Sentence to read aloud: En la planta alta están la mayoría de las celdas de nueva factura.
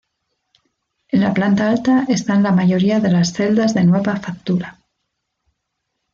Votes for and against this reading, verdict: 2, 0, accepted